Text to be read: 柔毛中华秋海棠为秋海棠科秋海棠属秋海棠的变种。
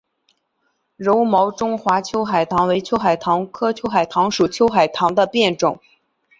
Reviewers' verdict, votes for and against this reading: accepted, 2, 0